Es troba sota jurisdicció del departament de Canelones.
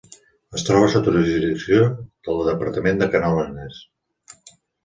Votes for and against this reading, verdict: 1, 2, rejected